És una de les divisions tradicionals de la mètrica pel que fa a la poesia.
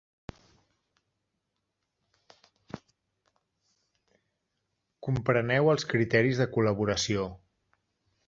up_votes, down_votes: 0, 2